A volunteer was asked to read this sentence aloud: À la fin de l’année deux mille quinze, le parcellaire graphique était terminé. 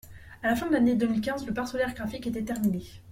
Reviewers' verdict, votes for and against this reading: accepted, 2, 0